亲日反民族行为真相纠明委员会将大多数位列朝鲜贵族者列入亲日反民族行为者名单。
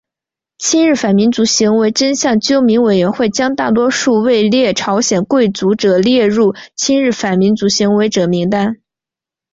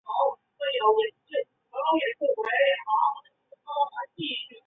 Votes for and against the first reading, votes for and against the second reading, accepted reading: 2, 0, 0, 4, first